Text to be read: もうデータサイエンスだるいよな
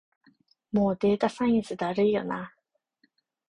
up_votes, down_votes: 2, 0